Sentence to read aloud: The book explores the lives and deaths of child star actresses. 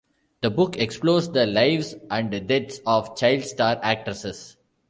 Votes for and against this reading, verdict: 0, 2, rejected